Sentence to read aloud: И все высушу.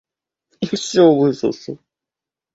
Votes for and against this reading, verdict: 0, 2, rejected